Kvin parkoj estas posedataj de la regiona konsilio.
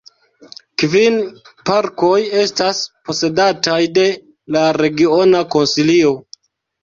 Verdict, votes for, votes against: accepted, 2, 0